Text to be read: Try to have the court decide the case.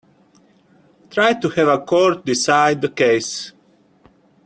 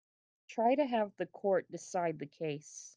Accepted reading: second